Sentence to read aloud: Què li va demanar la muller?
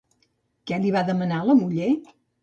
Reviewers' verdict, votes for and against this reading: accepted, 2, 0